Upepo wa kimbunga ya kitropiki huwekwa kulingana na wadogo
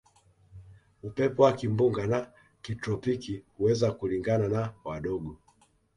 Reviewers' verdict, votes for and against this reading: rejected, 1, 2